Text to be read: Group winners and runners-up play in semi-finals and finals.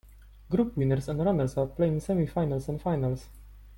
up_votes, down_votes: 3, 0